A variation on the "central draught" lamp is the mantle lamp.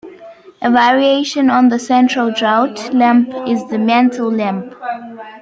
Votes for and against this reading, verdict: 0, 2, rejected